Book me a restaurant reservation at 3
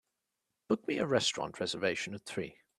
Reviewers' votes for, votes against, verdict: 0, 2, rejected